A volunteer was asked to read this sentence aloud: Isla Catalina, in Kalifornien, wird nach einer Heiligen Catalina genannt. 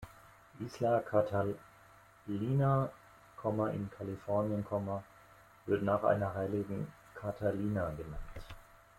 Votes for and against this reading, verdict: 1, 2, rejected